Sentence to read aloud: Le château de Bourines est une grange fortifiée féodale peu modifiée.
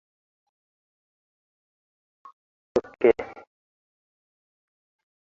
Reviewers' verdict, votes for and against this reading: rejected, 0, 2